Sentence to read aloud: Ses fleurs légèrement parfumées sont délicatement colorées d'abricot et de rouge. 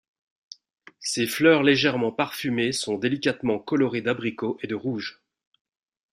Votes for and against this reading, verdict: 2, 0, accepted